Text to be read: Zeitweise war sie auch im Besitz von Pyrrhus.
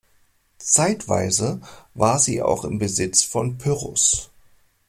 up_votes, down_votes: 2, 0